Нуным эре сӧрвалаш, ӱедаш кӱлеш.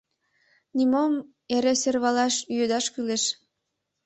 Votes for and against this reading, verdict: 1, 2, rejected